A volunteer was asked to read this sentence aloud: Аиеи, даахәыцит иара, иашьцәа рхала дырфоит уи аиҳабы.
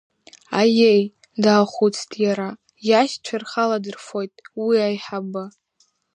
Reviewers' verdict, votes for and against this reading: rejected, 1, 2